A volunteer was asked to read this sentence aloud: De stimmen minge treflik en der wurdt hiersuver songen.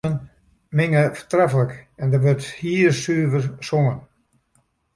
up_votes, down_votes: 0, 2